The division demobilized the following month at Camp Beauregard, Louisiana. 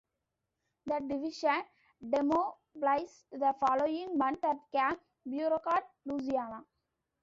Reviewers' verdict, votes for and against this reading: accepted, 2, 0